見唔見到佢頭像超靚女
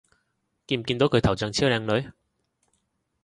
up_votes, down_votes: 2, 0